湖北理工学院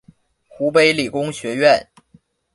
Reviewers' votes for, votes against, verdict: 2, 0, accepted